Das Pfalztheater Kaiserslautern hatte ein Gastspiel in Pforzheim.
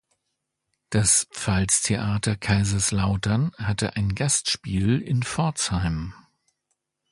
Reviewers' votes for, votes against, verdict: 2, 0, accepted